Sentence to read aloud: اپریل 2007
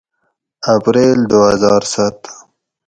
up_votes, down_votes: 0, 2